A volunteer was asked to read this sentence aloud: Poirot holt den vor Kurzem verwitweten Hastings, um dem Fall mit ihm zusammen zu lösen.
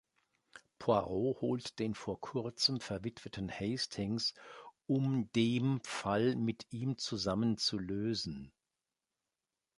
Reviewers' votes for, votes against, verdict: 2, 0, accepted